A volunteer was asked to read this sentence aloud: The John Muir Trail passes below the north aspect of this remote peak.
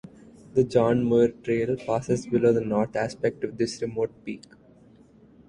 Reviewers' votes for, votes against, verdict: 2, 0, accepted